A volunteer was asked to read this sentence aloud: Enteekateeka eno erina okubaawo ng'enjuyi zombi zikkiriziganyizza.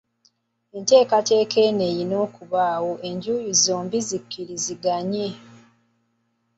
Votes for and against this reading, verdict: 1, 2, rejected